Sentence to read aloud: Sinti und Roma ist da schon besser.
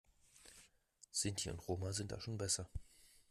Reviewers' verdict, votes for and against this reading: rejected, 0, 2